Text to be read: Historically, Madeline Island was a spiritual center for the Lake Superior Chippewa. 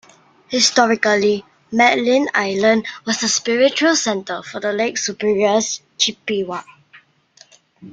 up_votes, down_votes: 2, 0